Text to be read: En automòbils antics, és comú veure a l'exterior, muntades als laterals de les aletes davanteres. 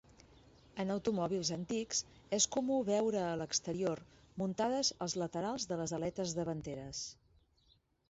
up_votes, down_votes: 4, 0